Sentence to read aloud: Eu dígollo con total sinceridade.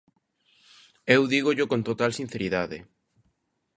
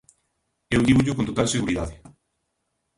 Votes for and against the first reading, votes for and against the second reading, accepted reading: 2, 0, 0, 2, first